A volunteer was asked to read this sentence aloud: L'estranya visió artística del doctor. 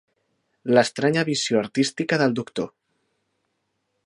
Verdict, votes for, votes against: accepted, 4, 0